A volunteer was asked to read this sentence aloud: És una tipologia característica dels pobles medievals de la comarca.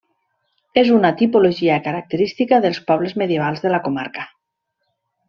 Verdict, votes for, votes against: accepted, 3, 0